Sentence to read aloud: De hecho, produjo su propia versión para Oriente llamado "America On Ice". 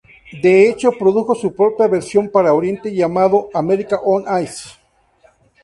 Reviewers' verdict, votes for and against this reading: accepted, 4, 0